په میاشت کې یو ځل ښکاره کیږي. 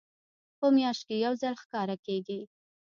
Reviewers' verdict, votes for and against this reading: rejected, 0, 2